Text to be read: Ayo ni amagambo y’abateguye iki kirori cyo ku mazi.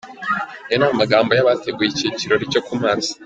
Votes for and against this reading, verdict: 3, 0, accepted